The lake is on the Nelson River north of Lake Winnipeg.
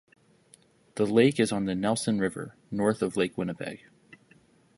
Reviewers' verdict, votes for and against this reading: accepted, 2, 0